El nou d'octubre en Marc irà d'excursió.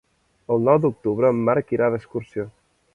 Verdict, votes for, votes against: accepted, 2, 0